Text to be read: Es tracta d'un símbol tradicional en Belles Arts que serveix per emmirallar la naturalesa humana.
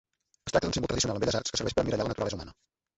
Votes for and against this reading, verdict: 0, 2, rejected